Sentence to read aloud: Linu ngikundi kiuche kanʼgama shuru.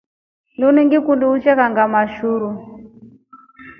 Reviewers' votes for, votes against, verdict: 3, 1, accepted